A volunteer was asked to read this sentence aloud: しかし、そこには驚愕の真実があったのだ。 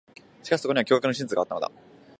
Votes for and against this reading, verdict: 0, 2, rejected